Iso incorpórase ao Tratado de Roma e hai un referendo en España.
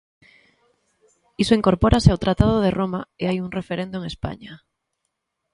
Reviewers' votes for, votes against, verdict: 2, 0, accepted